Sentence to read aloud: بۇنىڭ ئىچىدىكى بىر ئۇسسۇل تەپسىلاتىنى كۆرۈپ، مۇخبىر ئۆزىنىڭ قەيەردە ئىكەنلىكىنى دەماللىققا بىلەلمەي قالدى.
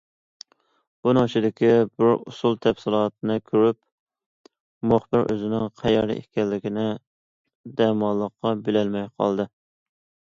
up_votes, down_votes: 2, 0